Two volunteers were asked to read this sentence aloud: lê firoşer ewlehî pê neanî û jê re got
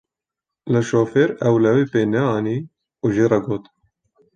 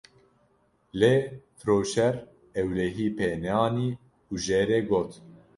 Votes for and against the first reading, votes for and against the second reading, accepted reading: 0, 2, 2, 0, second